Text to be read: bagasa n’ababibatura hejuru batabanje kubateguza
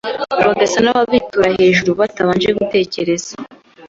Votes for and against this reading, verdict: 3, 4, rejected